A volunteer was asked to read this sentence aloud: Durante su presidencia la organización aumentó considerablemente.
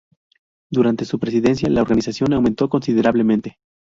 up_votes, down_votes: 2, 0